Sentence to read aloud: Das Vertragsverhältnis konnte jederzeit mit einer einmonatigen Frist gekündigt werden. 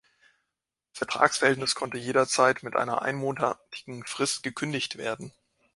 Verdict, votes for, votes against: rejected, 1, 3